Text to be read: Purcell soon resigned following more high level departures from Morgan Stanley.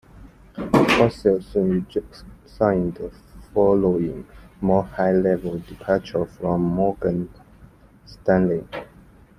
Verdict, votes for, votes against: rejected, 0, 2